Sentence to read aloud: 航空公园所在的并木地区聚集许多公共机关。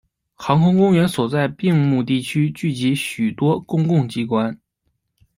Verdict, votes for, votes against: rejected, 0, 2